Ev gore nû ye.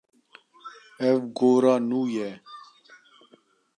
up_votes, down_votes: 1, 2